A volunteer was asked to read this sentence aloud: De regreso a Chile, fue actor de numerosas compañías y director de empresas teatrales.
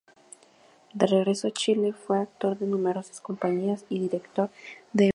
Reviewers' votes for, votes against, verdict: 0, 2, rejected